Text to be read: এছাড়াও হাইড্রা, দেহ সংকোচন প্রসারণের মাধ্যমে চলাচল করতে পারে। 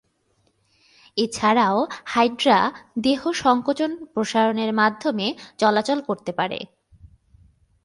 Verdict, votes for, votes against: accepted, 7, 0